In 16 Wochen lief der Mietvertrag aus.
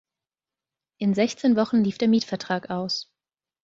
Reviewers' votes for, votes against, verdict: 0, 2, rejected